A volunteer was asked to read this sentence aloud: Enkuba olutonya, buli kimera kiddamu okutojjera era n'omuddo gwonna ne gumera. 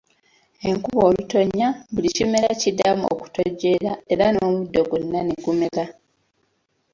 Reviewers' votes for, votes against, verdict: 2, 0, accepted